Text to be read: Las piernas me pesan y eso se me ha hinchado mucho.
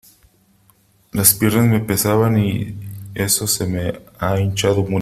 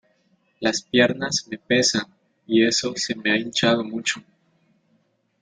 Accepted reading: second